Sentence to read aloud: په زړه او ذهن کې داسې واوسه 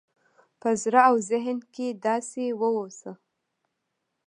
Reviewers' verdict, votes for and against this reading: accepted, 2, 0